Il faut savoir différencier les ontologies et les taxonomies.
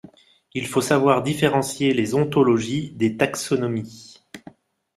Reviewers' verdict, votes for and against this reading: rejected, 1, 2